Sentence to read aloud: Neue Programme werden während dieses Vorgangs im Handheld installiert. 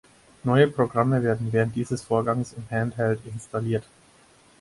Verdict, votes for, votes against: accepted, 4, 0